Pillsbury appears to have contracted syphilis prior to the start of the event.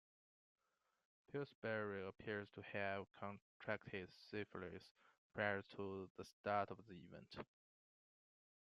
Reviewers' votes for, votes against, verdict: 2, 1, accepted